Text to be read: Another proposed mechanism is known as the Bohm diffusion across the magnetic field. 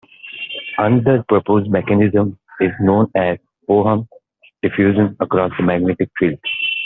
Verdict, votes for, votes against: rejected, 1, 2